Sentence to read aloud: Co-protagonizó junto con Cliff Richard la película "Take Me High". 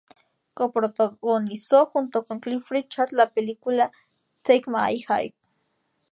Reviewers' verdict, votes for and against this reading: rejected, 0, 2